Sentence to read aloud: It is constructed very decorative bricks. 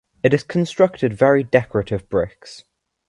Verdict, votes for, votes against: accepted, 2, 0